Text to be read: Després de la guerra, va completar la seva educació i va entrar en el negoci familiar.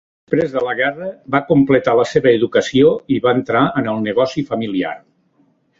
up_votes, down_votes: 1, 2